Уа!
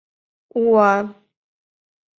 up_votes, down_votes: 2, 0